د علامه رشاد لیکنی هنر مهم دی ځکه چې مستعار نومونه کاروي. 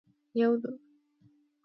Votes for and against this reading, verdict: 0, 2, rejected